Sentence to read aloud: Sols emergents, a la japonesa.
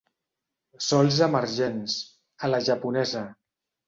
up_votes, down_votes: 5, 0